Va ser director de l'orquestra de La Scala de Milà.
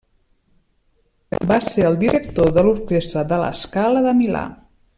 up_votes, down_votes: 0, 2